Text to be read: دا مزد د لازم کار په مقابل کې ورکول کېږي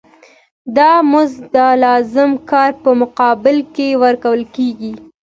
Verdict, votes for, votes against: accepted, 2, 0